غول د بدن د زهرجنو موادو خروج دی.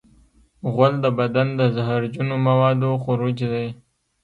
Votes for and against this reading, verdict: 1, 2, rejected